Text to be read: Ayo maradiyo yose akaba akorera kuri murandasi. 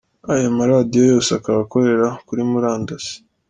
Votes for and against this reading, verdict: 2, 0, accepted